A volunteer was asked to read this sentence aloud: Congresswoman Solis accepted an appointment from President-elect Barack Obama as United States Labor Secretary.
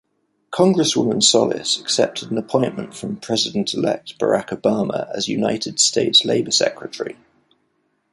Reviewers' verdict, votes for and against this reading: accepted, 2, 0